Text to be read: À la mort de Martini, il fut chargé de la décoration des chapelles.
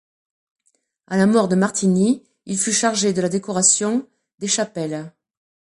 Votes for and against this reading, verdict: 2, 0, accepted